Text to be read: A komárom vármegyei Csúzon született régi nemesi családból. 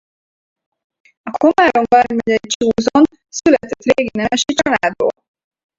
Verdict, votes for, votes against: rejected, 2, 4